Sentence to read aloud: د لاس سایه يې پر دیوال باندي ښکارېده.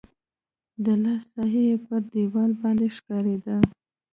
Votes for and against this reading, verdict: 0, 2, rejected